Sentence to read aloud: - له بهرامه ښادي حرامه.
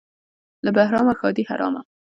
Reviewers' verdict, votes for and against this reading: accepted, 2, 0